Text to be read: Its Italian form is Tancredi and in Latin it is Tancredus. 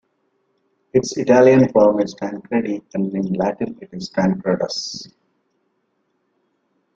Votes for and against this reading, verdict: 1, 2, rejected